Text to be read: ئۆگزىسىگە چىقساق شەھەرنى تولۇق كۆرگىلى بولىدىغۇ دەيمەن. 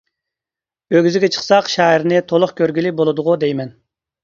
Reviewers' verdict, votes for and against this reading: accepted, 2, 0